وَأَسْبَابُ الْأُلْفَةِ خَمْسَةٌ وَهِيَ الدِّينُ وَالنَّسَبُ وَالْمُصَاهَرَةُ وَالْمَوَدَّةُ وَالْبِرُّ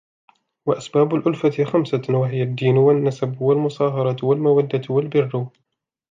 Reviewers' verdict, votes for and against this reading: rejected, 1, 2